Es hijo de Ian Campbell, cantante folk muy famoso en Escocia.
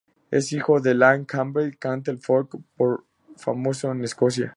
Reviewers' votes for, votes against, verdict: 0, 2, rejected